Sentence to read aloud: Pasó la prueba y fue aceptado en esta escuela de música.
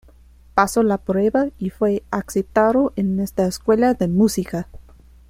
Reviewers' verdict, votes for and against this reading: accepted, 2, 1